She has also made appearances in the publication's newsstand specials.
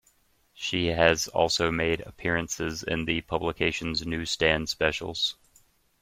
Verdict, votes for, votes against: accepted, 2, 0